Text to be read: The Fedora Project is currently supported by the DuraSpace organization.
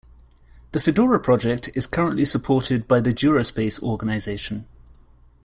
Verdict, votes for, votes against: accepted, 2, 0